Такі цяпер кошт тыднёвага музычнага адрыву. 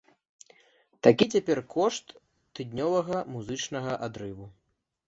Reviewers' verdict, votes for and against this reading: accepted, 2, 0